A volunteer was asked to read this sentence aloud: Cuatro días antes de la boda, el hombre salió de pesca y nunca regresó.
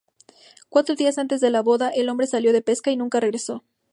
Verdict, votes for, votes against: accepted, 2, 0